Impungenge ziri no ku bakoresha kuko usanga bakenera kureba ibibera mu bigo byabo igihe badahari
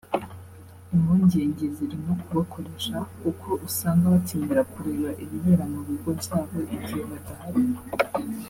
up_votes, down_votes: 3, 0